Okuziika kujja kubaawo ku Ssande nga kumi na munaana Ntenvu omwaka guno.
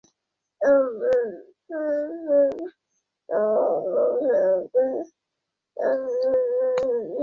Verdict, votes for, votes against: rejected, 0, 2